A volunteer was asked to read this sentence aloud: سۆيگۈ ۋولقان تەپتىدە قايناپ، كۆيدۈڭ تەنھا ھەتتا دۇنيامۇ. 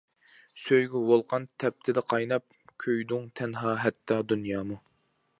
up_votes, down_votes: 2, 0